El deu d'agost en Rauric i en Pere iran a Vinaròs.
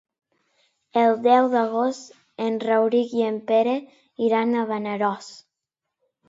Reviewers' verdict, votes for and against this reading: rejected, 0, 2